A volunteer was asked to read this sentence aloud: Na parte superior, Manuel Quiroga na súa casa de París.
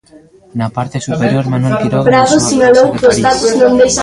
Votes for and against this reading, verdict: 0, 2, rejected